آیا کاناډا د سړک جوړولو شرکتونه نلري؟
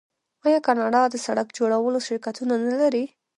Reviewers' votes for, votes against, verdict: 0, 2, rejected